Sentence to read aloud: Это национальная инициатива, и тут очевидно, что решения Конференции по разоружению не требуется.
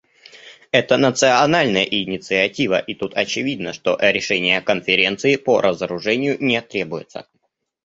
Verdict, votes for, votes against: rejected, 1, 2